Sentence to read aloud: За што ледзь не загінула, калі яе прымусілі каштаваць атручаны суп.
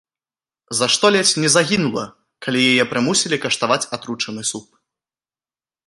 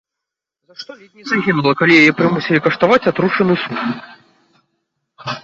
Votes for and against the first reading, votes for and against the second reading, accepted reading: 2, 0, 1, 2, first